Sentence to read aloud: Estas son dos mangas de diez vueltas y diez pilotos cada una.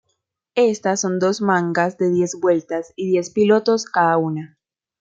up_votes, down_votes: 2, 0